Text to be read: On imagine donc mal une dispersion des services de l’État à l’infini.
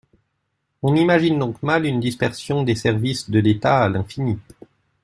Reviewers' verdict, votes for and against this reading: accepted, 2, 0